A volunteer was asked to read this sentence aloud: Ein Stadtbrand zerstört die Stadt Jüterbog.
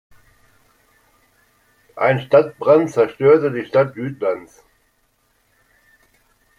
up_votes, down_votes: 0, 2